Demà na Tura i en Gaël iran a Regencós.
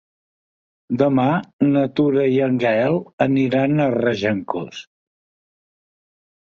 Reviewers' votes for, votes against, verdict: 1, 2, rejected